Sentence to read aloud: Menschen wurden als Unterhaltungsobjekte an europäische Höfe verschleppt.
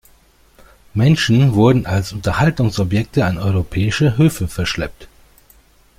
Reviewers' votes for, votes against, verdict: 2, 0, accepted